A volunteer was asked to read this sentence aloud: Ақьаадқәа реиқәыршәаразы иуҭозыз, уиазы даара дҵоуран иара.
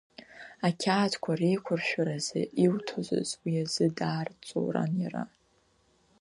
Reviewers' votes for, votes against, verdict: 0, 2, rejected